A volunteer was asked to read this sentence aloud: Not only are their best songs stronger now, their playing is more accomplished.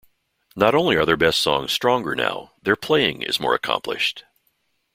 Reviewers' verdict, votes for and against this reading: accepted, 2, 0